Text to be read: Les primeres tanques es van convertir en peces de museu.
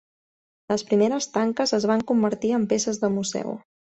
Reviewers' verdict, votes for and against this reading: accepted, 7, 2